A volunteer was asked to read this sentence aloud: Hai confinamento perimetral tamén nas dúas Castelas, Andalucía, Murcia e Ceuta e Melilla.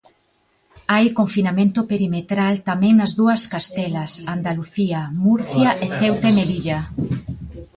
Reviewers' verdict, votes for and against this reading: rejected, 1, 2